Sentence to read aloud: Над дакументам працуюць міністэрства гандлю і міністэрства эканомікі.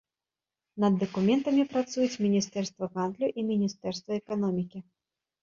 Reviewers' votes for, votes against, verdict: 0, 2, rejected